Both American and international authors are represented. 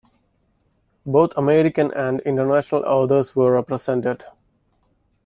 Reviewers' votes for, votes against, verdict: 0, 2, rejected